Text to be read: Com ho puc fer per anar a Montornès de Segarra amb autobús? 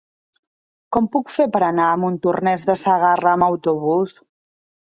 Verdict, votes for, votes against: rejected, 1, 2